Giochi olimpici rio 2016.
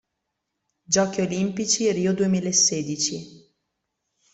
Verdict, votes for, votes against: rejected, 0, 2